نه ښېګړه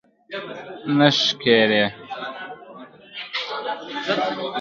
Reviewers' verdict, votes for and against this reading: accepted, 2, 1